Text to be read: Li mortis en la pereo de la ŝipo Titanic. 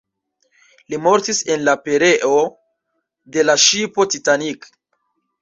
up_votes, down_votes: 0, 2